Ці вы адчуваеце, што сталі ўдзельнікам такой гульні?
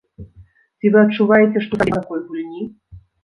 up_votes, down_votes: 0, 2